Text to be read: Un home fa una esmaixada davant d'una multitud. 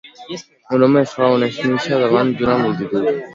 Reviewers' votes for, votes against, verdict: 0, 2, rejected